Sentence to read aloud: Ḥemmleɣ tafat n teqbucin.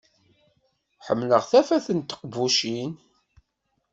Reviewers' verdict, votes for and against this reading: accepted, 2, 0